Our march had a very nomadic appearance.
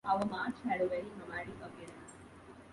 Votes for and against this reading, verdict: 0, 2, rejected